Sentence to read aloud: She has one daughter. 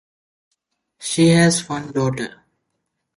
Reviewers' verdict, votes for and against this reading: accepted, 2, 1